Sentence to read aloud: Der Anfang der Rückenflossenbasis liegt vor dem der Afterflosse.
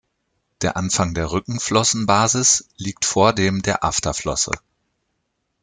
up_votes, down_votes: 2, 0